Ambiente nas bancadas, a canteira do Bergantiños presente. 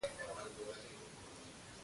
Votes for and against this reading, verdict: 0, 2, rejected